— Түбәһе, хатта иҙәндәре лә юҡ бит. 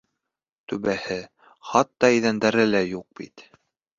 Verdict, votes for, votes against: accepted, 2, 0